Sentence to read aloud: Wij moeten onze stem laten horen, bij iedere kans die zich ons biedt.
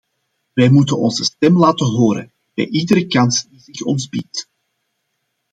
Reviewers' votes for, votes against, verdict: 2, 1, accepted